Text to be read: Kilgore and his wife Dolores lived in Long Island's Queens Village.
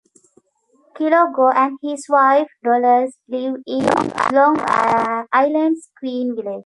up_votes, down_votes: 0, 2